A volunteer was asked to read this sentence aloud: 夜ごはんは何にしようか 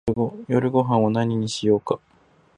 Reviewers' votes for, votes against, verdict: 2, 2, rejected